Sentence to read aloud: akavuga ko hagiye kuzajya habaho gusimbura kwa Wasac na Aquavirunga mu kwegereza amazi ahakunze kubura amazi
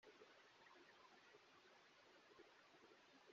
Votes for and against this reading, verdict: 0, 2, rejected